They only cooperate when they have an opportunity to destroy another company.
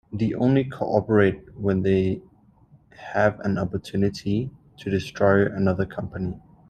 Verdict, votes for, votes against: rejected, 1, 2